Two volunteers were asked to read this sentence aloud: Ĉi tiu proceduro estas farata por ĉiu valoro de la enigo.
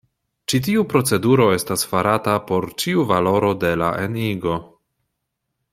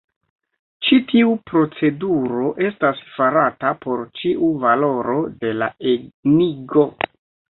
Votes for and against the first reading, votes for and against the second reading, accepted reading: 2, 0, 1, 2, first